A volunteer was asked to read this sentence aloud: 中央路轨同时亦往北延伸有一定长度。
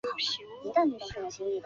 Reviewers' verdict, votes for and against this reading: rejected, 0, 2